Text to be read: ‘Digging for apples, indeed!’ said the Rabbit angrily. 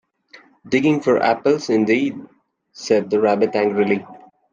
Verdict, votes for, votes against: accepted, 2, 0